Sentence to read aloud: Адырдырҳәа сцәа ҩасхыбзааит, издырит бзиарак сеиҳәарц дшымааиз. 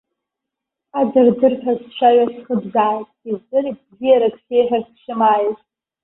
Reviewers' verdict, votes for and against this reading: rejected, 0, 2